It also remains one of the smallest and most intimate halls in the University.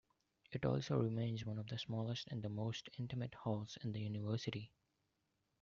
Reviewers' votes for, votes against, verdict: 0, 2, rejected